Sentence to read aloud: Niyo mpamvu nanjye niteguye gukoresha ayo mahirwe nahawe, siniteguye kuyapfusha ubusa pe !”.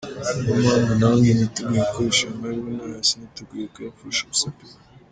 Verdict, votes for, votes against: rejected, 0, 2